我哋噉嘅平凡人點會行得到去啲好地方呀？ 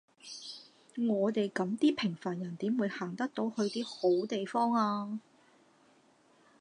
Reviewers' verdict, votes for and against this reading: rejected, 0, 2